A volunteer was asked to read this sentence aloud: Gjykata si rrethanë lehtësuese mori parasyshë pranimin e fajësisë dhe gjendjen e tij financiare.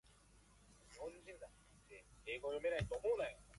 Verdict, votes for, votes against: rejected, 0, 2